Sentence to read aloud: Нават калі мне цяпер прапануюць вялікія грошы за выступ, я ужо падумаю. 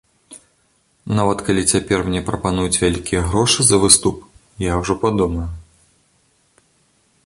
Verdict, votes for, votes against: rejected, 1, 2